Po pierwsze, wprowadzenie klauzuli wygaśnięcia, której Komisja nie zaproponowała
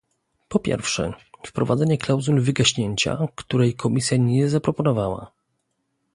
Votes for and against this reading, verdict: 2, 0, accepted